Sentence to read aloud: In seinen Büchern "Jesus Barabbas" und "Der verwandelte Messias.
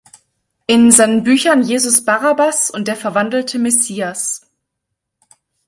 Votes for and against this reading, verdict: 2, 0, accepted